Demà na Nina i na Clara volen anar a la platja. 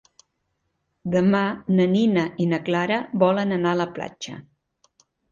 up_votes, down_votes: 3, 0